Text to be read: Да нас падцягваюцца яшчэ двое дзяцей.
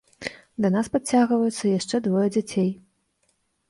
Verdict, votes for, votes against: accepted, 2, 1